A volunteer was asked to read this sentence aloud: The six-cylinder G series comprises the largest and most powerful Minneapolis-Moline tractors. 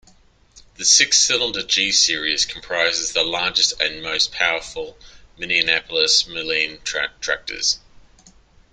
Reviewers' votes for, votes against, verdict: 0, 2, rejected